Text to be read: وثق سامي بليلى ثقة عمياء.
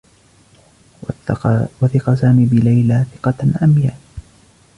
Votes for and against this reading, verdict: 1, 2, rejected